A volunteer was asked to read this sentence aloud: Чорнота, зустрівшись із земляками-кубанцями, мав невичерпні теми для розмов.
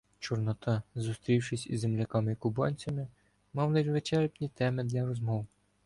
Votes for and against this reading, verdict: 0, 2, rejected